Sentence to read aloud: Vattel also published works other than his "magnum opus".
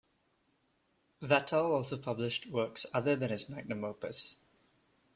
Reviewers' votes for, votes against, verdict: 2, 1, accepted